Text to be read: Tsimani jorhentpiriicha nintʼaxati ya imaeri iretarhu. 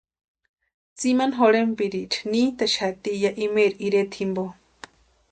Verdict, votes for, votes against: rejected, 0, 2